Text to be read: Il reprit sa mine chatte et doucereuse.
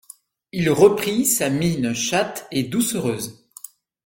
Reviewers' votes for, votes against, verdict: 2, 0, accepted